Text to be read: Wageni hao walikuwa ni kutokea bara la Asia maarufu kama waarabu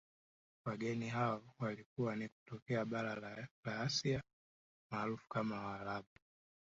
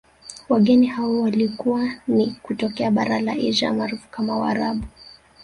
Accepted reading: first